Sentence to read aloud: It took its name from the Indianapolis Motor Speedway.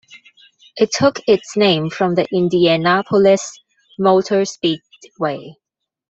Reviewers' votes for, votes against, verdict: 1, 2, rejected